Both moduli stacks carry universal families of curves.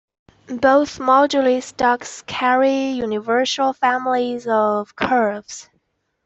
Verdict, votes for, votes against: accepted, 2, 0